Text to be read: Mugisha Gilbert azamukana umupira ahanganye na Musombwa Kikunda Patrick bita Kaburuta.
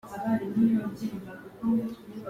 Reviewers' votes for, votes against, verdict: 1, 2, rejected